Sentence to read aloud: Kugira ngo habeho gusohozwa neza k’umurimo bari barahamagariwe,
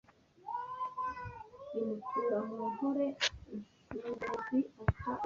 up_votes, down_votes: 0, 2